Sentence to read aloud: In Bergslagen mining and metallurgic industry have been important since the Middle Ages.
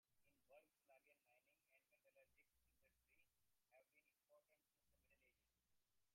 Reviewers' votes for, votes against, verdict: 0, 2, rejected